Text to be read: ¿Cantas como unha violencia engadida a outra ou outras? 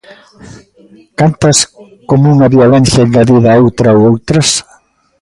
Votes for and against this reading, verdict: 2, 1, accepted